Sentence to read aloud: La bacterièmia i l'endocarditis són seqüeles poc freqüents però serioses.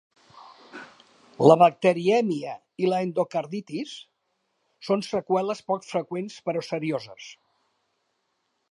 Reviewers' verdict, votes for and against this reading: rejected, 0, 2